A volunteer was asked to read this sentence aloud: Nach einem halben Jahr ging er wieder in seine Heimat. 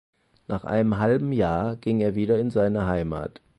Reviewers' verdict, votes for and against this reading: accepted, 4, 0